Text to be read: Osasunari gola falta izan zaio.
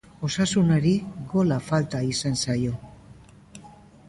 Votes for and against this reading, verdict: 2, 0, accepted